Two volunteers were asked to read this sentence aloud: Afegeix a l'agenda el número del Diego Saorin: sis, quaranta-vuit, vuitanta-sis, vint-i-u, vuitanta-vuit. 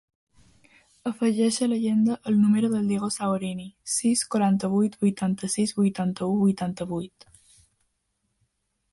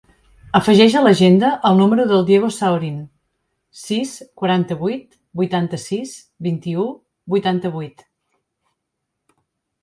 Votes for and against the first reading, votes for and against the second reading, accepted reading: 2, 3, 4, 0, second